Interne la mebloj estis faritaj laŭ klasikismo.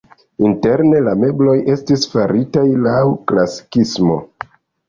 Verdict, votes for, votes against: accepted, 2, 0